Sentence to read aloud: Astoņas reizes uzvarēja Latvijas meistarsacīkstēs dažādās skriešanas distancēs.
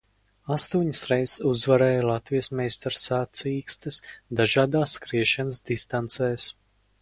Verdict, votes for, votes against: rejected, 0, 4